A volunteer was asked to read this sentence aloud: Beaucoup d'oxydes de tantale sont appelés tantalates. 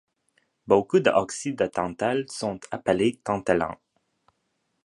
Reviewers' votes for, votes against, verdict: 0, 2, rejected